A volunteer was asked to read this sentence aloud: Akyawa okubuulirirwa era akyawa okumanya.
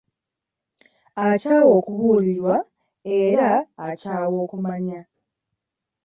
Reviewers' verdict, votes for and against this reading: rejected, 1, 2